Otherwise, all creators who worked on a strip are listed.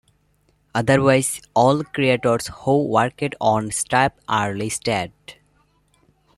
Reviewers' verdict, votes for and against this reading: accepted, 2, 1